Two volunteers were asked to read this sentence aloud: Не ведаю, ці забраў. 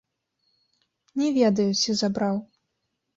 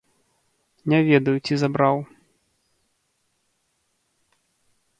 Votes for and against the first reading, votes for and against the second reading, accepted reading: 1, 2, 2, 0, second